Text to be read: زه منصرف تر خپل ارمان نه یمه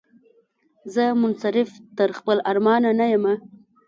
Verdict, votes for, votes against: rejected, 1, 2